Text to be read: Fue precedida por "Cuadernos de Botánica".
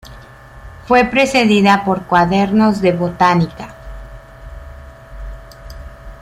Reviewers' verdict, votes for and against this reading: accepted, 2, 0